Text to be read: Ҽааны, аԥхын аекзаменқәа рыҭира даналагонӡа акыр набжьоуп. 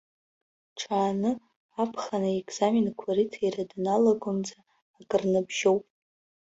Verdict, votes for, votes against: rejected, 0, 2